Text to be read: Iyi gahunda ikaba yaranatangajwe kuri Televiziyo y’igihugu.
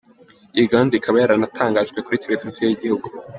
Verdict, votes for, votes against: rejected, 1, 2